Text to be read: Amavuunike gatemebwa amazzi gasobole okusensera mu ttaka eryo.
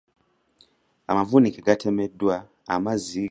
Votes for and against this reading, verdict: 0, 2, rejected